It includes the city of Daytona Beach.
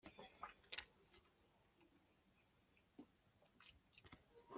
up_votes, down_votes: 0, 2